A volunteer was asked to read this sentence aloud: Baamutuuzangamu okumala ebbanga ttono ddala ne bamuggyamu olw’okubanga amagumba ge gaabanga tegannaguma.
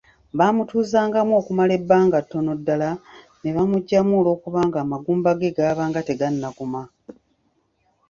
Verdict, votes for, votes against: accepted, 2, 0